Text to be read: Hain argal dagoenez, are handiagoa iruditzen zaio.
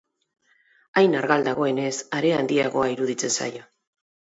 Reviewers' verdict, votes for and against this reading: accepted, 2, 0